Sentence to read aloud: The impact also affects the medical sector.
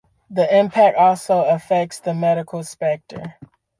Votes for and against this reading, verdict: 0, 2, rejected